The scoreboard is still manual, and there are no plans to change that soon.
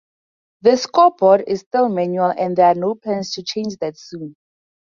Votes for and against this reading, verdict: 4, 0, accepted